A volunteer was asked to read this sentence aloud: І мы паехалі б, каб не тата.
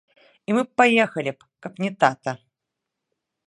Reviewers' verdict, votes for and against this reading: rejected, 1, 2